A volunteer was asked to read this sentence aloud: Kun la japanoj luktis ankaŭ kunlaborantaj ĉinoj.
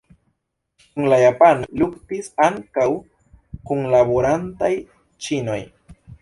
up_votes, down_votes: 0, 2